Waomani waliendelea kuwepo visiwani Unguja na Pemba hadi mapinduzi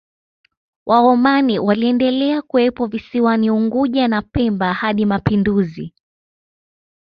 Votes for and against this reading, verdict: 2, 0, accepted